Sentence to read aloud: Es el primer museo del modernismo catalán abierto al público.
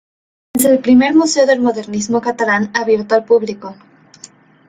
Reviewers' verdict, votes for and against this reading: rejected, 0, 2